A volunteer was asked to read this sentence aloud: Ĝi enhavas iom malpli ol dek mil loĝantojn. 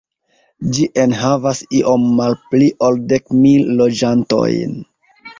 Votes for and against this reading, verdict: 1, 2, rejected